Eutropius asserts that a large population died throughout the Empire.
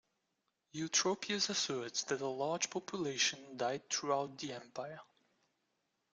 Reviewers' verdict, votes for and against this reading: accepted, 2, 0